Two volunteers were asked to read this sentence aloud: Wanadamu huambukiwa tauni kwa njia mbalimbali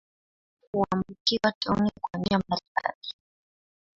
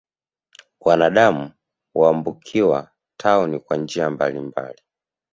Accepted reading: second